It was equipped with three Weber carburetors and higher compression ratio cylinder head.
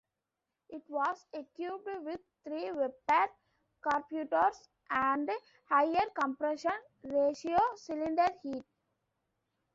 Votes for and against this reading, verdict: 0, 2, rejected